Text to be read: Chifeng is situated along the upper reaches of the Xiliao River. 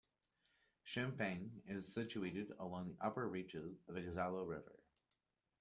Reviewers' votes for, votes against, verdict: 0, 2, rejected